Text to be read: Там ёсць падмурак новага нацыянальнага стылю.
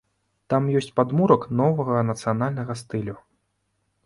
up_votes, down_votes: 2, 0